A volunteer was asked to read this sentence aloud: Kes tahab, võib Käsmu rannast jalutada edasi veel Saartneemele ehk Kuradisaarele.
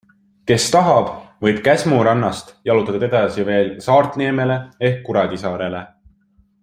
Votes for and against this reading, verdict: 3, 0, accepted